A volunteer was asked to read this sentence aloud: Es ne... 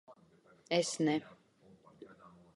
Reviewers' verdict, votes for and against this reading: accepted, 2, 0